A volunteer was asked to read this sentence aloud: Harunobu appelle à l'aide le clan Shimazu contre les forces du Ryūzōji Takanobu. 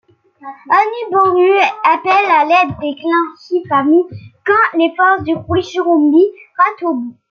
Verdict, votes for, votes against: rejected, 1, 2